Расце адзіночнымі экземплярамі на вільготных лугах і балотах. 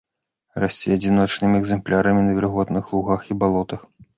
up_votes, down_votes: 2, 0